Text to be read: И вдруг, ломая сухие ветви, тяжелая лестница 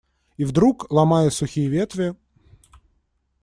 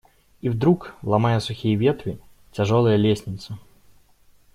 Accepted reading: second